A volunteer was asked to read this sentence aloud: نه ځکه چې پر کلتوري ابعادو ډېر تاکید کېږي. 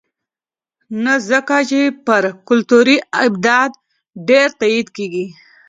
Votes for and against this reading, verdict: 1, 3, rejected